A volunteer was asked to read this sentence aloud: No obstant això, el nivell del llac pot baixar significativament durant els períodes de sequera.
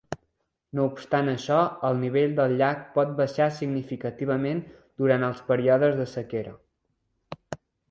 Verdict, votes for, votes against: accepted, 3, 0